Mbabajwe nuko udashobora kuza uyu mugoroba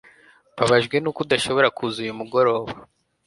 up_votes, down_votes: 2, 0